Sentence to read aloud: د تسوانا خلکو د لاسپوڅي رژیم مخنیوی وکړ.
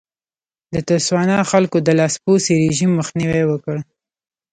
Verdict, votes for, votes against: rejected, 1, 2